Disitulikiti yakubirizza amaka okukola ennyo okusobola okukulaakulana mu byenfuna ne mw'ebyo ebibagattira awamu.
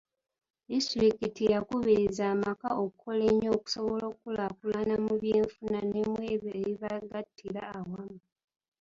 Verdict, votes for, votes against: rejected, 1, 2